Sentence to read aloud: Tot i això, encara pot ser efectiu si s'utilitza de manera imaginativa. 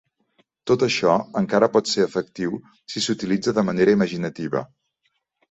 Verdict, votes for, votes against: rejected, 1, 2